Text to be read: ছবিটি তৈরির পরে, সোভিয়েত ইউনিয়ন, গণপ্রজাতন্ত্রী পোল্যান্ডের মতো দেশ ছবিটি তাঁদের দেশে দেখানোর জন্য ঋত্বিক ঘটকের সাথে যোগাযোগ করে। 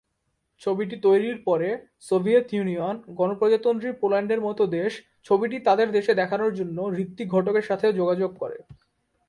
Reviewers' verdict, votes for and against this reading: accepted, 2, 0